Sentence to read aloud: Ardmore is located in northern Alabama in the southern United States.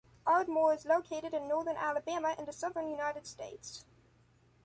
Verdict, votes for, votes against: accepted, 3, 1